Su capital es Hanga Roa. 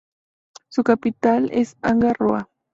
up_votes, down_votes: 0, 2